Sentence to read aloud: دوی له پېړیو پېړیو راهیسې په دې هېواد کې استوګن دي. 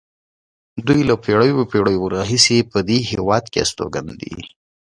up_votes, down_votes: 2, 0